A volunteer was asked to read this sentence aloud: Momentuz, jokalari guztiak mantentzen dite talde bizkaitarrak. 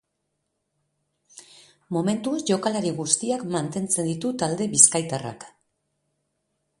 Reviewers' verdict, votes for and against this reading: accepted, 3, 0